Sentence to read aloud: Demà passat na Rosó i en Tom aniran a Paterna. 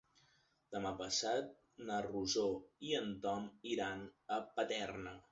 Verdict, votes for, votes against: rejected, 0, 3